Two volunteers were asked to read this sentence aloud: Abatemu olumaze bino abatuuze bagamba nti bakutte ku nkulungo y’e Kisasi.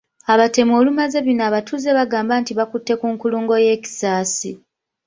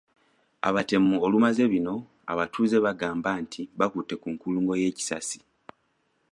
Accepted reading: first